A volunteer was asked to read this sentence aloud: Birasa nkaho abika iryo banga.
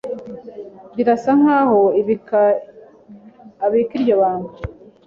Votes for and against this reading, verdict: 2, 1, accepted